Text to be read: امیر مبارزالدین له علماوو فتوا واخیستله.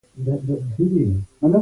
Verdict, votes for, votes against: rejected, 0, 2